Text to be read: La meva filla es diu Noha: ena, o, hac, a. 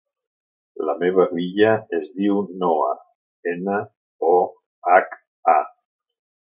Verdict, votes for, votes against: accepted, 2, 1